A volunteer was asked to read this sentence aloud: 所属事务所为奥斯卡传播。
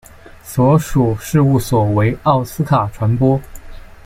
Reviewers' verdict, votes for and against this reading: accepted, 2, 1